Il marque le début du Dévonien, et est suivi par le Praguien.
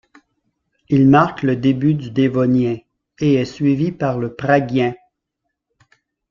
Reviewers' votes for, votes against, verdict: 2, 0, accepted